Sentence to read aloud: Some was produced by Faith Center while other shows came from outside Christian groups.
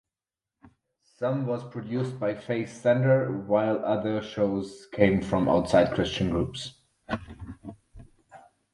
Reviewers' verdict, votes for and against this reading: accepted, 4, 0